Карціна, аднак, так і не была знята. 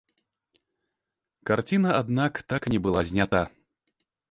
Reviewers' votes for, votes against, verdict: 2, 0, accepted